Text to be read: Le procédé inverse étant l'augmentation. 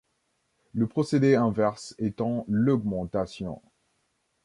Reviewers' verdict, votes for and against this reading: accepted, 2, 0